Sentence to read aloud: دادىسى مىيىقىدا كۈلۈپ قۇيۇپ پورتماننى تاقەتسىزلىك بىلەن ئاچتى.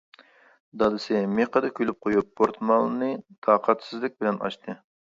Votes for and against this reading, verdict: 1, 2, rejected